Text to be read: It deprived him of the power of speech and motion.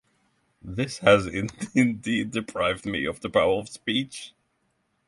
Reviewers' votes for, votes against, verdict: 0, 6, rejected